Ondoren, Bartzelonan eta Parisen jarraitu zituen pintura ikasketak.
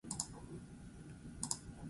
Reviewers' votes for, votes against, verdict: 2, 8, rejected